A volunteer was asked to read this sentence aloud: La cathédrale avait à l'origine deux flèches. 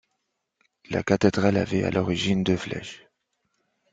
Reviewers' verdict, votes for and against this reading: accepted, 2, 0